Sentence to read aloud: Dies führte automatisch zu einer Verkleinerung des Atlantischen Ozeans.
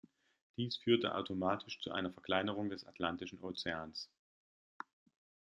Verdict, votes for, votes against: accepted, 2, 0